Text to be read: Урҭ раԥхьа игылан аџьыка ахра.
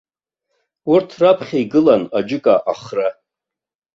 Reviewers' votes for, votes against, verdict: 2, 0, accepted